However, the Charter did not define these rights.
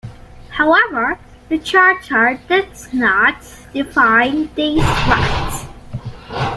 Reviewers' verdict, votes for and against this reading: accepted, 2, 1